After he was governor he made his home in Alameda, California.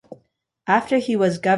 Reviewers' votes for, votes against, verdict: 0, 2, rejected